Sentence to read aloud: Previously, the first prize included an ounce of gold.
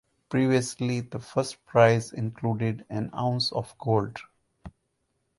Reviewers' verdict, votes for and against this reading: accepted, 4, 0